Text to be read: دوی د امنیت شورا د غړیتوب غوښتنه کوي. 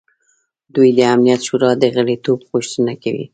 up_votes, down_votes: 1, 2